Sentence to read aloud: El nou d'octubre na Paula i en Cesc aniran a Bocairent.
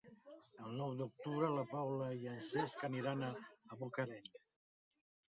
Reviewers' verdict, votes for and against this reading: rejected, 1, 2